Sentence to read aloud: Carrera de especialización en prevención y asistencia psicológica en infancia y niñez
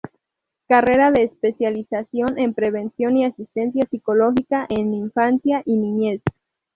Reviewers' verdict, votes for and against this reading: rejected, 0, 2